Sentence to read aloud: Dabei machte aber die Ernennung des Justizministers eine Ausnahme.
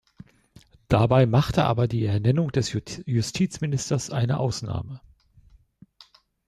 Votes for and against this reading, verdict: 1, 2, rejected